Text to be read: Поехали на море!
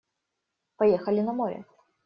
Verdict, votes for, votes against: rejected, 1, 2